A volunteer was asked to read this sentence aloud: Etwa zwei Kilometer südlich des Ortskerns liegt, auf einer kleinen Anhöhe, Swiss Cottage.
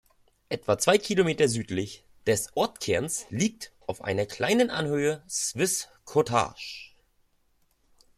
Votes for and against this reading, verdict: 1, 2, rejected